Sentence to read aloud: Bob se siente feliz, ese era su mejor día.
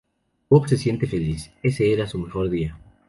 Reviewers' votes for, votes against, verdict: 2, 0, accepted